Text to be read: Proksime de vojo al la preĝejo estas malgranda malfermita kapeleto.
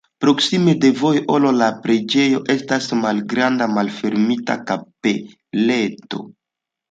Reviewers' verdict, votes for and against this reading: accepted, 2, 0